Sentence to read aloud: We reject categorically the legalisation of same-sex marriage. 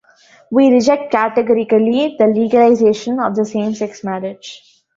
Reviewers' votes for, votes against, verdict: 0, 2, rejected